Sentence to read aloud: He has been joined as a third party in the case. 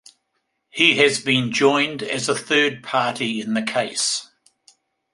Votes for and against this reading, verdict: 2, 0, accepted